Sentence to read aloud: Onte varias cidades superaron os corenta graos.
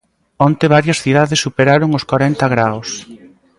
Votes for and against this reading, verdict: 1, 2, rejected